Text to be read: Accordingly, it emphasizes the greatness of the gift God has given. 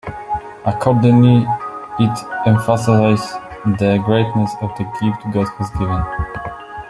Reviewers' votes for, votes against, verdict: 1, 2, rejected